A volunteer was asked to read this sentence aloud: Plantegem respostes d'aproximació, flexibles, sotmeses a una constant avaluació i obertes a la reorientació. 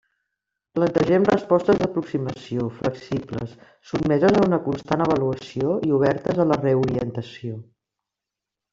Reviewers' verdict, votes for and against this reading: rejected, 1, 2